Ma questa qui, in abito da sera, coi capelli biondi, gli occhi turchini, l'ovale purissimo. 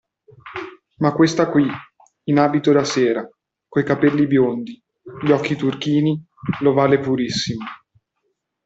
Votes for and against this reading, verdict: 2, 0, accepted